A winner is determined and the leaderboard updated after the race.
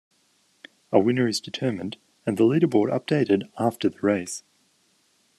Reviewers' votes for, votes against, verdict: 2, 1, accepted